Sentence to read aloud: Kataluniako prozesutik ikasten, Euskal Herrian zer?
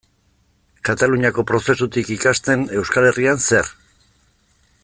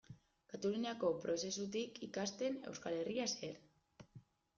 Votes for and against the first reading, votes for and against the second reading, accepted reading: 2, 0, 1, 2, first